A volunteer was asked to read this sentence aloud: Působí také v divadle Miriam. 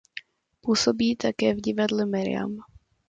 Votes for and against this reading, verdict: 2, 0, accepted